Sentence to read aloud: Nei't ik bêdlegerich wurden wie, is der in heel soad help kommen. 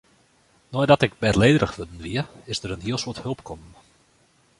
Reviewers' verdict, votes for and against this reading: accepted, 2, 1